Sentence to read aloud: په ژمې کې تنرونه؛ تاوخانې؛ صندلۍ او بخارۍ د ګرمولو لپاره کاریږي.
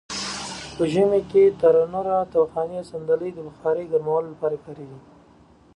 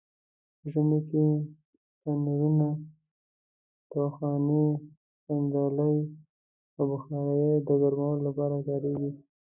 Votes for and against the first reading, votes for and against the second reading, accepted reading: 2, 0, 0, 2, first